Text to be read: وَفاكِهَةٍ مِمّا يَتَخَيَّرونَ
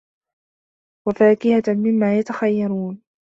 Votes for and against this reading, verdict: 1, 2, rejected